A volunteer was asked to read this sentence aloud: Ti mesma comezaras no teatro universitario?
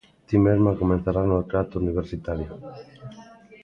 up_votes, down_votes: 0, 2